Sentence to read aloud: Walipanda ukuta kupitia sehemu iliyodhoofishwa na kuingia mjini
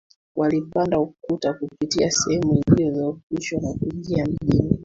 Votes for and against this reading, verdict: 2, 1, accepted